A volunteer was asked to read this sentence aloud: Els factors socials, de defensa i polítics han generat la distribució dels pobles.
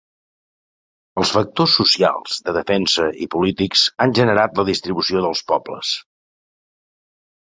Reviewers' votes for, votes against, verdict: 4, 0, accepted